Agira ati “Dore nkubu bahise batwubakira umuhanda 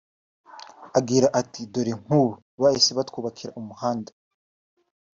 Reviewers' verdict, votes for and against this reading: accepted, 2, 1